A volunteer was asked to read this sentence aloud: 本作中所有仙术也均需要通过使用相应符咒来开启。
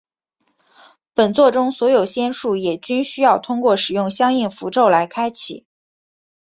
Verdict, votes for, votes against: accepted, 2, 0